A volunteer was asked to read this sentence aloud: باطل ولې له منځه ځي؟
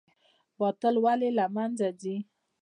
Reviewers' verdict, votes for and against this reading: accepted, 2, 0